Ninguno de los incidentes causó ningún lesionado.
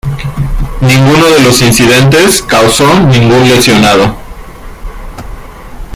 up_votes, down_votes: 2, 0